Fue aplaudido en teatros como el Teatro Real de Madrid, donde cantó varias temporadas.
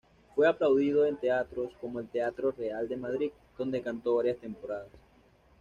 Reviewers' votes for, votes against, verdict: 2, 0, accepted